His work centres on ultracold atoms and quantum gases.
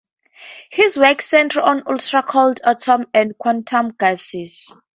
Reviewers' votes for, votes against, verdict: 0, 2, rejected